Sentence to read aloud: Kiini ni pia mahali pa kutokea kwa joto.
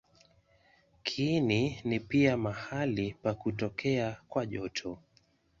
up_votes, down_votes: 2, 0